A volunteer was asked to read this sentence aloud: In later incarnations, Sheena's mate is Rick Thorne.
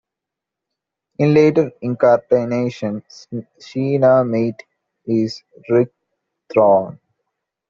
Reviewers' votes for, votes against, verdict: 0, 2, rejected